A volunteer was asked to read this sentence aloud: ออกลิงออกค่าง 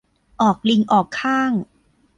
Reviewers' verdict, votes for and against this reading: accepted, 2, 0